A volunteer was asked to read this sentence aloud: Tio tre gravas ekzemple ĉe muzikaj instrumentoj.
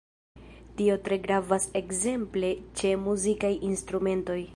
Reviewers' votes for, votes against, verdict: 2, 1, accepted